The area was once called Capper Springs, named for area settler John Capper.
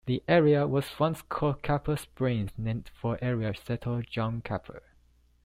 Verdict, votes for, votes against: accepted, 2, 0